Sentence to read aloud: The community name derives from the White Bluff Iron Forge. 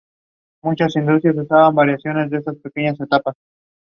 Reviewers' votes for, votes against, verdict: 0, 2, rejected